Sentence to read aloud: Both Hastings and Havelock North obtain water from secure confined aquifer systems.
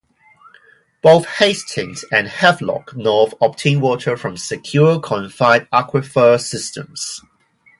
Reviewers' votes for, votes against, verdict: 4, 0, accepted